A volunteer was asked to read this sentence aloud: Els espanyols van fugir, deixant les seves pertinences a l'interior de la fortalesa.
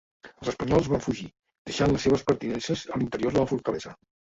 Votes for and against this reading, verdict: 0, 2, rejected